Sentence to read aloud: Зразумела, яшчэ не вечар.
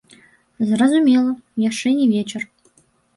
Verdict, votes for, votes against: accepted, 2, 1